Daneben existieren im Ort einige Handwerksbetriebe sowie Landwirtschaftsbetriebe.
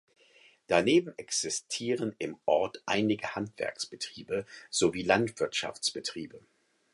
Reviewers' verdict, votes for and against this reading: accepted, 4, 0